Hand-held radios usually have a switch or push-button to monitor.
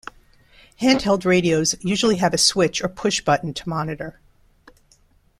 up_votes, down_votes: 2, 0